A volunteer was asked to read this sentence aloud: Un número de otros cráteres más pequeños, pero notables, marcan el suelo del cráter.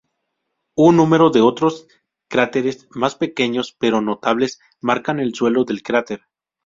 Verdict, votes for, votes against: rejected, 0, 2